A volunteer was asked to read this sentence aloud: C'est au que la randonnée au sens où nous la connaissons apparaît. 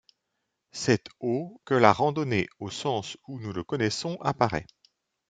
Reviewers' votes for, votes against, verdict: 1, 2, rejected